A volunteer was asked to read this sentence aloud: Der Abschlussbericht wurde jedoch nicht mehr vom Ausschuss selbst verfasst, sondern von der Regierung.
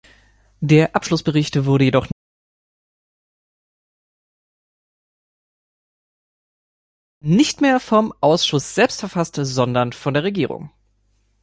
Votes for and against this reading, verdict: 1, 3, rejected